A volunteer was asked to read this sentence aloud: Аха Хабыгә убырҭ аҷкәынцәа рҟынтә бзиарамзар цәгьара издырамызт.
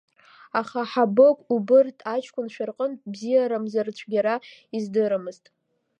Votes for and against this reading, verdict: 2, 0, accepted